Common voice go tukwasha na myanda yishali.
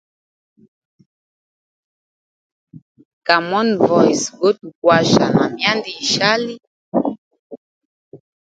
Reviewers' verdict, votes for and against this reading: rejected, 1, 2